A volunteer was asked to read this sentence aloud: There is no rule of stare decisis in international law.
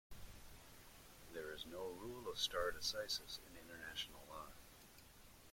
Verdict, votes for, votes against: rejected, 0, 2